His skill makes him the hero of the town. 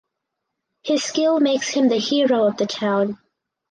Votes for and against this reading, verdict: 4, 0, accepted